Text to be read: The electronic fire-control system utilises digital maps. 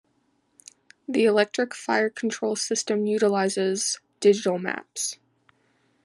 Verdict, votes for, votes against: accepted, 2, 1